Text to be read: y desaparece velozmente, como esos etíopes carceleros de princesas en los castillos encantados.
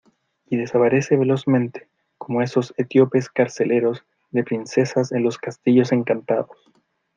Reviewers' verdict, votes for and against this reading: accepted, 2, 0